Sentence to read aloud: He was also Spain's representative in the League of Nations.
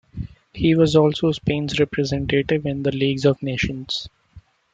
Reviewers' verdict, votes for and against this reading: rejected, 0, 2